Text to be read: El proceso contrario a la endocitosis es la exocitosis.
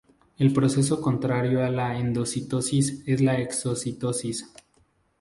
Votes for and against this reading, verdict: 2, 0, accepted